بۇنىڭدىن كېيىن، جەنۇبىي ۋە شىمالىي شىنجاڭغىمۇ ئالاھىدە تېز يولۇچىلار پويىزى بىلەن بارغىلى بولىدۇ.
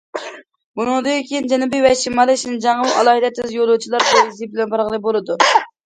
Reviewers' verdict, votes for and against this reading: rejected, 1, 2